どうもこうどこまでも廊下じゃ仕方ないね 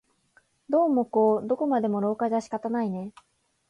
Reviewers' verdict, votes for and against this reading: accepted, 5, 0